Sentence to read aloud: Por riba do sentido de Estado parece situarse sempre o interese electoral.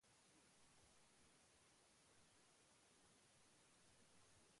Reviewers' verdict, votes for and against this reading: rejected, 0, 2